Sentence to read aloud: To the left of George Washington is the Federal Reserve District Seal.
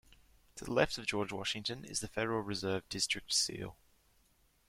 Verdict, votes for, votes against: accepted, 2, 0